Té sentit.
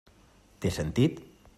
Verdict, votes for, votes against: accepted, 3, 0